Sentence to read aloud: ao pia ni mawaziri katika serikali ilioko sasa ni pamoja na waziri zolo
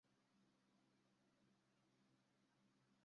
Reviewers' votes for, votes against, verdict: 0, 2, rejected